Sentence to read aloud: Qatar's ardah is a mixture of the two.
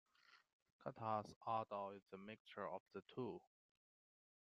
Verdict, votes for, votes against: rejected, 1, 2